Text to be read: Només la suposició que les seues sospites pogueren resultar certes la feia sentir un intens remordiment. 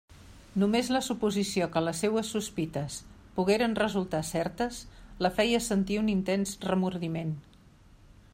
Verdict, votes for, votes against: accepted, 3, 0